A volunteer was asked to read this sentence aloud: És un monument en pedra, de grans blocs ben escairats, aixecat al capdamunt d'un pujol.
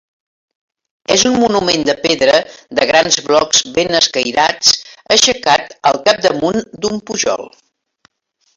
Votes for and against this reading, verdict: 3, 4, rejected